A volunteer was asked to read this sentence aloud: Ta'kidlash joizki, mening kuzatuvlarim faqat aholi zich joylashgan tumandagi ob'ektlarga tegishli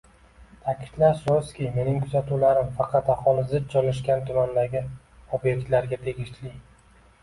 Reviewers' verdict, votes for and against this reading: rejected, 1, 2